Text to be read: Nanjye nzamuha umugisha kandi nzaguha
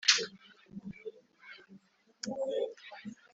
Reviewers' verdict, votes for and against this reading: rejected, 0, 2